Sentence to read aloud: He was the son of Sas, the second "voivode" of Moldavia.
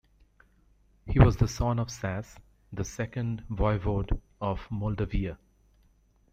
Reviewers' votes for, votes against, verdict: 0, 2, rejected